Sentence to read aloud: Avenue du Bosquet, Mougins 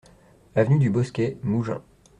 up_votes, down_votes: 2, 0